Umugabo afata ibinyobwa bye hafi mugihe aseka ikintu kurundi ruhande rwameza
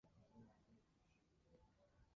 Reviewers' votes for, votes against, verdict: 0, 2, rejected